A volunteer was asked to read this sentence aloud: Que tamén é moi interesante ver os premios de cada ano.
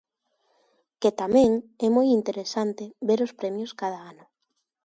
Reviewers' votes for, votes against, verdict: 1, 2, rejected